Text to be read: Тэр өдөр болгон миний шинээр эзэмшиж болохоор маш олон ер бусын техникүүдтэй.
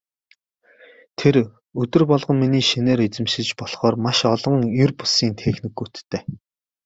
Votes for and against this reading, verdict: 2, 0, accepted